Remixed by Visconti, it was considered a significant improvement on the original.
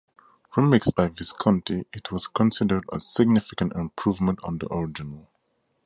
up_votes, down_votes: 2, 0